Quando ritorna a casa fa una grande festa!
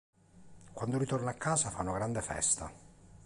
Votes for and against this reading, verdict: 2, 0, accepted